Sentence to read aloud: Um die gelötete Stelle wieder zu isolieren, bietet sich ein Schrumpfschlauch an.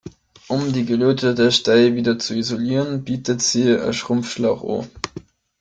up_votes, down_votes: 1, 2